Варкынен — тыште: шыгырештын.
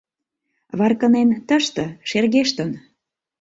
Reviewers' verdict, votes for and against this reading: rejected, 0, 2